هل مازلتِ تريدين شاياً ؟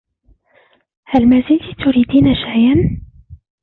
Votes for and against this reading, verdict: 2, 1, accepted